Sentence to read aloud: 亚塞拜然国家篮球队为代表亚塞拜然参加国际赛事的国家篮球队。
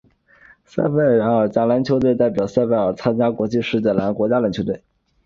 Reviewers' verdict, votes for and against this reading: accepted, 3, 0